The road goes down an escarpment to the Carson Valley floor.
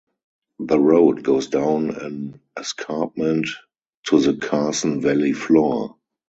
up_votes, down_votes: 2, 2